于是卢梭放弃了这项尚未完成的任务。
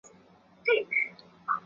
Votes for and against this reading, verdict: 1, 4, rejected